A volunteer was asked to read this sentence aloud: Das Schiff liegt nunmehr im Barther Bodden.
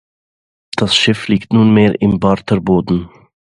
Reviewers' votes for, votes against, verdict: 2, 0, accepted